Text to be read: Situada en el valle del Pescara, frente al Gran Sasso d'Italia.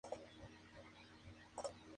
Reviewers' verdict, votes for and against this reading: rejected, 0, 2